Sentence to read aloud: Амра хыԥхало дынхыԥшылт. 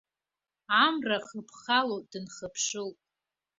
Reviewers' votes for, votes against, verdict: 2, 1, accepted